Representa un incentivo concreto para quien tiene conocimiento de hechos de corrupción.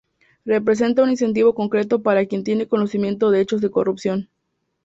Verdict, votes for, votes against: accepted, 2, 0